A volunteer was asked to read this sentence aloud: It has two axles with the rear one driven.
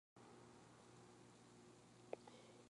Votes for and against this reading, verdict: 0, 2, rejected